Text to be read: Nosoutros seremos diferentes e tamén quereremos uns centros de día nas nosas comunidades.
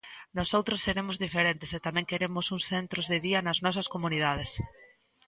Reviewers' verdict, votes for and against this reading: rejected, 1, 2